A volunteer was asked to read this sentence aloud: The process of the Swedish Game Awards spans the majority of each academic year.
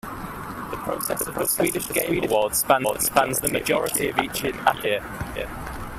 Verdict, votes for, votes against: rejected, 1, 2